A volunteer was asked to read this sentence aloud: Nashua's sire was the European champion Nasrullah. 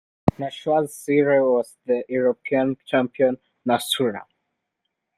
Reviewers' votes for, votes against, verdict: 2, 1, accepted